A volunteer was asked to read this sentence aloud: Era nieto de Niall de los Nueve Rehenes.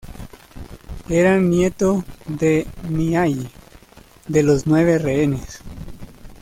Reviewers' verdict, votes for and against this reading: rejected, 1, 2